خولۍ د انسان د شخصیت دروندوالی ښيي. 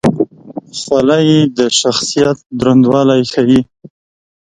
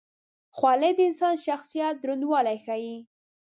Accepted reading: first